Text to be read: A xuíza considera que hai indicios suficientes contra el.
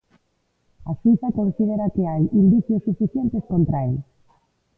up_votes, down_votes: 1, 2